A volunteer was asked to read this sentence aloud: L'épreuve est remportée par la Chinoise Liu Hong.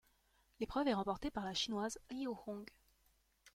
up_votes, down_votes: 2, 0